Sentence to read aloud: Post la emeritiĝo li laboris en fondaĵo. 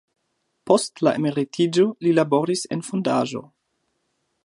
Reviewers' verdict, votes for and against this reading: accepted, 2, 1